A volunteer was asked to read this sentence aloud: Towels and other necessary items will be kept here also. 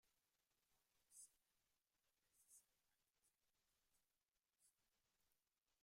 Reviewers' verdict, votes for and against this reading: rejected, 0, 2